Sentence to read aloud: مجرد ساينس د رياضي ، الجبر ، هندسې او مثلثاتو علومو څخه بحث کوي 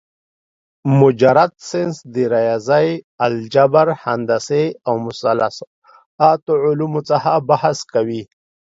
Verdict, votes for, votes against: rejected, 0, 2